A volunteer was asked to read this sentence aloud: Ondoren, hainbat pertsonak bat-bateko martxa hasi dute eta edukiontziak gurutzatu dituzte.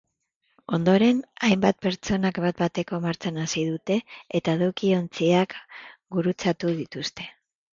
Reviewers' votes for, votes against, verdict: 1, 2, rejected